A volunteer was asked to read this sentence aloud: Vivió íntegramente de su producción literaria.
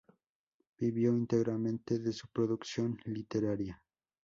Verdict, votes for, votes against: rejected, 2, 2